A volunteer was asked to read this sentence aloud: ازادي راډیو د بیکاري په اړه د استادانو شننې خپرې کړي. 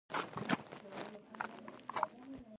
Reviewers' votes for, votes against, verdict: 1, 2, rejected